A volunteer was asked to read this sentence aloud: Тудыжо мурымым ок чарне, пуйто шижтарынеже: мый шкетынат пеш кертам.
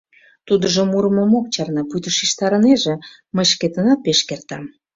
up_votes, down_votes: 2, 0